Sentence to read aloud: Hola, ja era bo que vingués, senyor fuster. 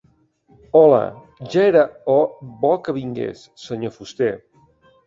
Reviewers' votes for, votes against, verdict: 0, 3, rejected